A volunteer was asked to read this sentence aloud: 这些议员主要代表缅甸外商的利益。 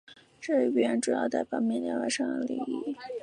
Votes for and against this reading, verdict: 0, 2, rejected